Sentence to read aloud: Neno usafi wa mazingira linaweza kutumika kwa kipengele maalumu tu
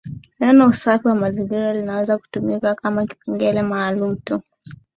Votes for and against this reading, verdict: 0, 2, rejected